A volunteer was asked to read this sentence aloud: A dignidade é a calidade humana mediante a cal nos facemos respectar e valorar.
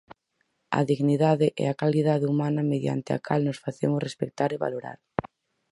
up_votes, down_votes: 4, 0